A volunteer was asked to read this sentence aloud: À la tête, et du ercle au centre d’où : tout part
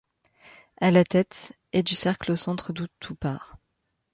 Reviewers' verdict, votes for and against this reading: rejected, 1, 2